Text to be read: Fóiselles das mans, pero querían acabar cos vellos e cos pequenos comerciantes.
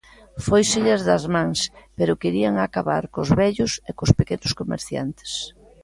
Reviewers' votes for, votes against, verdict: 2, 1, accepted